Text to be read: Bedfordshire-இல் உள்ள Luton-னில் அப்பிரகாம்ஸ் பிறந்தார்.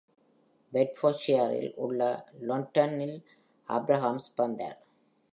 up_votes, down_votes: 1, 2